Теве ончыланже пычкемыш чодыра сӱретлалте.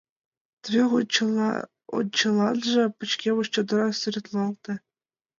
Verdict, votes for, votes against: rejected, 1, 2